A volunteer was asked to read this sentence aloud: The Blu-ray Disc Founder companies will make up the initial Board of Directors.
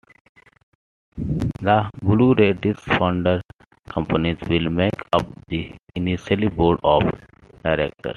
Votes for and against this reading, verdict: 2, 1, accepted